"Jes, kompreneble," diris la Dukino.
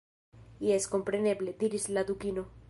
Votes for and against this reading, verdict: 2, 0, accepted